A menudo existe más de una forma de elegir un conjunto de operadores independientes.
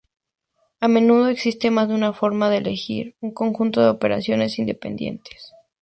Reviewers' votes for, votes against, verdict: 0, 2, rejected